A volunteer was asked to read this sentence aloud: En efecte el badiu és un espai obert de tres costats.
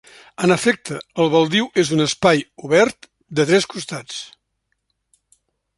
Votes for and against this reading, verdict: 0, 2, rejected